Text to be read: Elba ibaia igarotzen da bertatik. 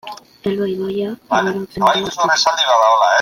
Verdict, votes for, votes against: rejected, 0, 2